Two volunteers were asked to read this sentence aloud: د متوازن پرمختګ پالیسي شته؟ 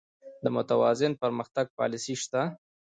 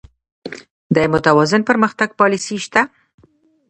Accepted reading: first